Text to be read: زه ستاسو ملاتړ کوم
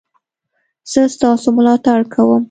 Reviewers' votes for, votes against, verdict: 2, 0, accepted